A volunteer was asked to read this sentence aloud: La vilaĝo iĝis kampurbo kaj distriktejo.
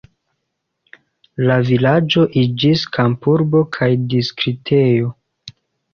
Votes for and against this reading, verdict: 2, 1, accepted